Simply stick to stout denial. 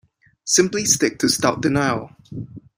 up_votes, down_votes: 2, 0